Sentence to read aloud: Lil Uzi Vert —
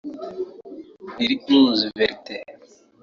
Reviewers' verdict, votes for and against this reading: rejected, 1, 2